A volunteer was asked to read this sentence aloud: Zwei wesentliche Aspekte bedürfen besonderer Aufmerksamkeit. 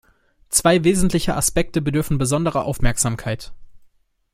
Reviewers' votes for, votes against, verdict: 2, 0, accepted